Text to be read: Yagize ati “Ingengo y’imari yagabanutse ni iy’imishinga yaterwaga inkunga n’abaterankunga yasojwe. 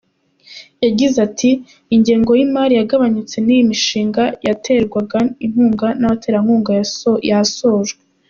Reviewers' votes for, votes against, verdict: 1, 2, rejected